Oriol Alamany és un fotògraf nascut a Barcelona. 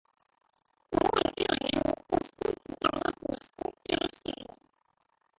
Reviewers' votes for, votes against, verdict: 0, 2, rejected